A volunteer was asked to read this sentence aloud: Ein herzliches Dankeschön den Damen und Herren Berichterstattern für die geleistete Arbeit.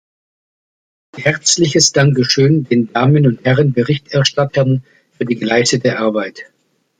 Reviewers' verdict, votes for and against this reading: rejected, 0, 2